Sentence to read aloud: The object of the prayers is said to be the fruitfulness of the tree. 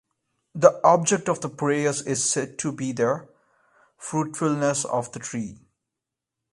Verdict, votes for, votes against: accepted, 2, 0